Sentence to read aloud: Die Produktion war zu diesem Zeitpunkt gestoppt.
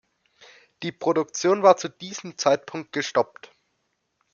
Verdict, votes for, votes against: accepted, 2, 0